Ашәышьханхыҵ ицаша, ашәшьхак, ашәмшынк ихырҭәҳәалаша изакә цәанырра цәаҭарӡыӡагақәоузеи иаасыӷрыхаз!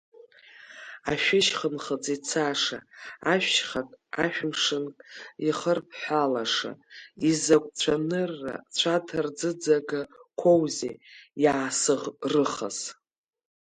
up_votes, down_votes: 0, 2